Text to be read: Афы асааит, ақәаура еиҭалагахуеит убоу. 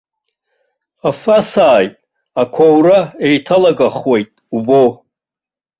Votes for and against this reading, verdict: 2, 0, accepted